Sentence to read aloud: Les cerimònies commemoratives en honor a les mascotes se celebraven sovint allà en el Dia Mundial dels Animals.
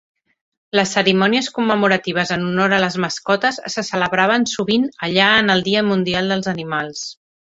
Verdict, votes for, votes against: accepted, 5, 0